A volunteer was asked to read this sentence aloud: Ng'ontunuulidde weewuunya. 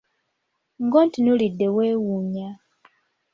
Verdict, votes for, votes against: accepted, 2, 0